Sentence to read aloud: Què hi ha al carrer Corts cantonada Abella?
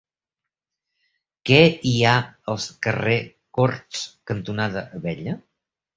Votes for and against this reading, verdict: 2, 3, rejected